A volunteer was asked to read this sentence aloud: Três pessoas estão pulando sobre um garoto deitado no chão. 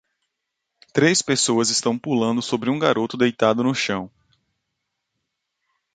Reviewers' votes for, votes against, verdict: 2, 0, accepted